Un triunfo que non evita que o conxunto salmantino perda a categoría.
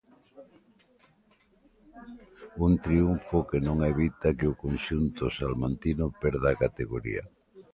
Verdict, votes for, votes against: accepted, 2, 0